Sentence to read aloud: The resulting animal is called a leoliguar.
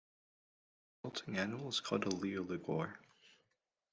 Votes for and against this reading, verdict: 0, 2, rejected